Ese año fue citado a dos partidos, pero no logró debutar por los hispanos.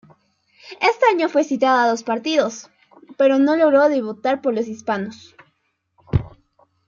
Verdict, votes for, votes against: rejected, 0, 2